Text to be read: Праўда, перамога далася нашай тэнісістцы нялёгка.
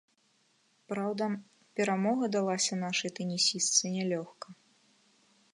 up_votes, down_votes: 2, 0